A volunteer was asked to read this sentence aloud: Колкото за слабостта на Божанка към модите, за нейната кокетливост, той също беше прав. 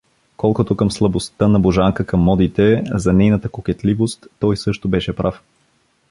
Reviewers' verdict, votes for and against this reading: rejected, 1, 2